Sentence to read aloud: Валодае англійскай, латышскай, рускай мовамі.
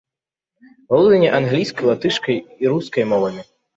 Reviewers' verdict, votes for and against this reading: rejected, 0, 2